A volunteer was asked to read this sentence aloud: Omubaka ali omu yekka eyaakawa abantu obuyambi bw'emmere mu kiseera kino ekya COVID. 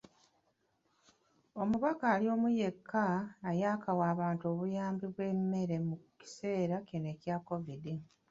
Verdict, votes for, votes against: rejected, 0, 2